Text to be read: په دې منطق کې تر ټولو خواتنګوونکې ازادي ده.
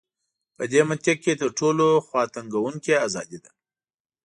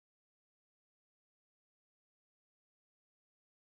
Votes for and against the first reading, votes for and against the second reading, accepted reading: 2, 0, 1, 2, first